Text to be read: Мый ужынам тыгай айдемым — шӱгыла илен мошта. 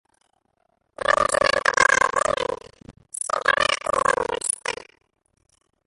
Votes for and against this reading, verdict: 0, 2, rejected